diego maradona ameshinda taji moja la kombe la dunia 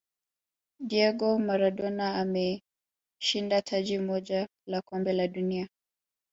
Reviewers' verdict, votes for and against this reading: accepted, 2, 1